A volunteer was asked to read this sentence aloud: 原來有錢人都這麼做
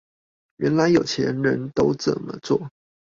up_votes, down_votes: 2, 0